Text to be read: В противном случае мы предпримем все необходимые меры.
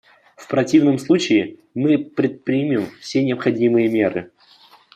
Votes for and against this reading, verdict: 2, 0, accepted